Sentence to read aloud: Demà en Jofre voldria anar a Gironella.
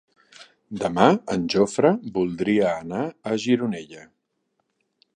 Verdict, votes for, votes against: accepted, 4, 0